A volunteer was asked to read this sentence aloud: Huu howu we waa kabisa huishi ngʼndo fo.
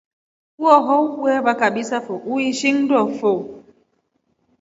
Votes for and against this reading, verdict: 2, 0, accepted